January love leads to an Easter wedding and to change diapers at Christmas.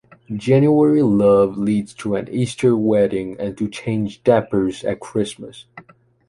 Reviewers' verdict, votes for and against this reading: rejected, 1, 2